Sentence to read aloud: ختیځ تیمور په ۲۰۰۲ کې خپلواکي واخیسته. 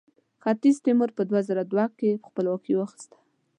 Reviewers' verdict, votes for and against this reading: rejected, 0, 2